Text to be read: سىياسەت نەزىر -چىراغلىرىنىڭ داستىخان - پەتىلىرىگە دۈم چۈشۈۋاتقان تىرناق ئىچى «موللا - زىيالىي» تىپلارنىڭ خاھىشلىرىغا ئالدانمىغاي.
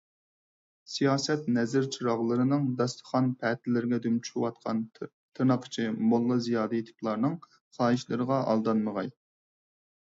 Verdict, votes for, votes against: rejected, 2, 4